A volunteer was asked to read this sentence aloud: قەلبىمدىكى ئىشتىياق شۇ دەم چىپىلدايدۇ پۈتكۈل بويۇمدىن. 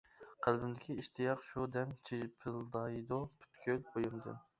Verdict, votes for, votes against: rejected, 0, 2